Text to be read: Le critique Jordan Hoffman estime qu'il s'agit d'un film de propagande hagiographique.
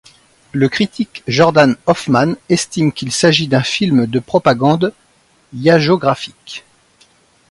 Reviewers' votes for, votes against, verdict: 0, 2, rejected